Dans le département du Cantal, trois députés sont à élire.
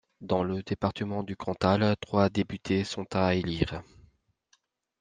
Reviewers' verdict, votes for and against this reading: accepted, 2, 0